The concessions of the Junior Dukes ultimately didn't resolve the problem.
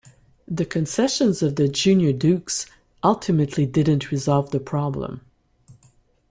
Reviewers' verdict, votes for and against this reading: accepted, 2, 0